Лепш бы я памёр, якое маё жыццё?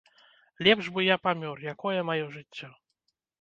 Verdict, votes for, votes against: accepted, 2, 0